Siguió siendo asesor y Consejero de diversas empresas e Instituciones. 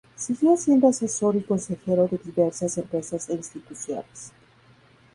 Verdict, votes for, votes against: rejected, 2, 4